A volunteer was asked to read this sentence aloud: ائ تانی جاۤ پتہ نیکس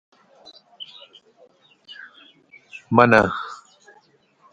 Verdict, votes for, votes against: rejected, 0, 2